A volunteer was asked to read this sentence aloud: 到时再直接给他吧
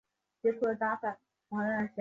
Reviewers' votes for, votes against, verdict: 2, 5, rejected